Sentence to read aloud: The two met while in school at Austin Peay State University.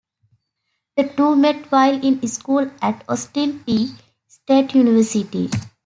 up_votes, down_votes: 1, 2